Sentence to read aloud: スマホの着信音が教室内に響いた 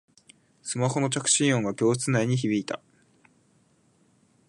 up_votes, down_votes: 2, 0